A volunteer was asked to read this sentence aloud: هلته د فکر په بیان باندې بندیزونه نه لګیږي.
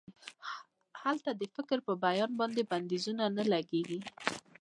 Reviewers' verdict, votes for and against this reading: rejected, 1, 2